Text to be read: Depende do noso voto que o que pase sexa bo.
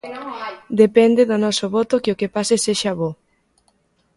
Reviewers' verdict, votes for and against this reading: rejected, 0, 2